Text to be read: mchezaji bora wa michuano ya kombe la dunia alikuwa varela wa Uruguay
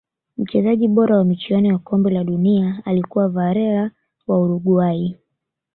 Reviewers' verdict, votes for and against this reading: rejected, 1, 2